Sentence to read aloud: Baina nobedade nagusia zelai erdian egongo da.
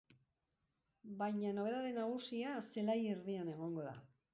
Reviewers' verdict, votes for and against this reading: accepted, 3, 0